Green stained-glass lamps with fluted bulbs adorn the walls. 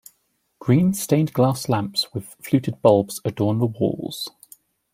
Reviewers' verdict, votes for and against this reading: accepted, 2, 0